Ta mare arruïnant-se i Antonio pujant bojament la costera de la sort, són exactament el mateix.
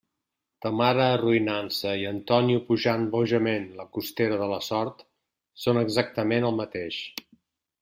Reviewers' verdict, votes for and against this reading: accepted, 2, 0